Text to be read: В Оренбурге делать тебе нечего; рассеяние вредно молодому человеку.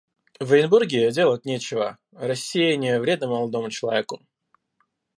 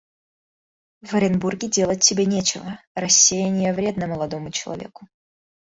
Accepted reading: second